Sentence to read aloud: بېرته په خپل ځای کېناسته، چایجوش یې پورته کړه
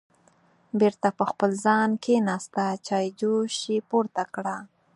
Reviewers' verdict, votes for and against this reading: rejected, 2, 4